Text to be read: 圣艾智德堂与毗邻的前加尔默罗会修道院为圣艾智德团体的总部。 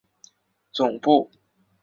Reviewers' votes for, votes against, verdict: 0, 2, rejected